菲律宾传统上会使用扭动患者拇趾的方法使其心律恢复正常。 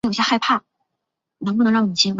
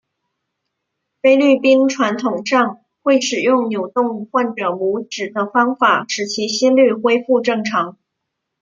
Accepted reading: second